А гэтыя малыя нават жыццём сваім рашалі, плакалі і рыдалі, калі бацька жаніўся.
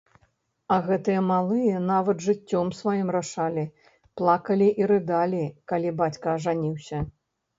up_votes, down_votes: 1, 2